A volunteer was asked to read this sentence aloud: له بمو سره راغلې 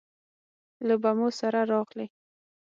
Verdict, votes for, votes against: accepted, 9, 0